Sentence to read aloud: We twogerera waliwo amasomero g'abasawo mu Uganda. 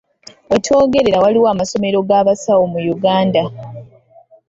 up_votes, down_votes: 2, 0